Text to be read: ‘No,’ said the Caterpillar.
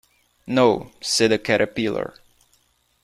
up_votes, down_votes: 1, 2